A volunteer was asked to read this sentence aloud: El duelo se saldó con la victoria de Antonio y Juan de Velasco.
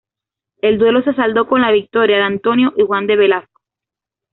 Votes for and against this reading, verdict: 2, 0, accepted